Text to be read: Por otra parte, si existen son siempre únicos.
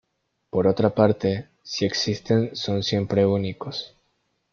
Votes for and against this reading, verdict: 2, 0, accepted